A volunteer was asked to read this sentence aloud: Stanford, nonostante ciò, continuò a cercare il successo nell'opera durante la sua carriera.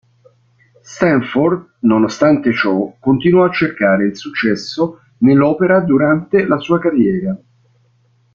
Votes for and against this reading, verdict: 2, 1, accepted